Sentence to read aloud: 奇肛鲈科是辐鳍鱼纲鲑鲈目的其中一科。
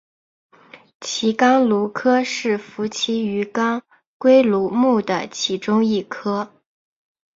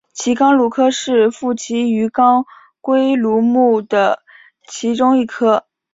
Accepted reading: first